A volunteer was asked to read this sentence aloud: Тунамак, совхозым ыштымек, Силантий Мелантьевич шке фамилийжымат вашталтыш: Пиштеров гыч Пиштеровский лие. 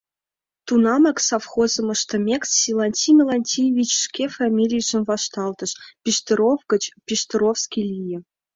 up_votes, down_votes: 3, 2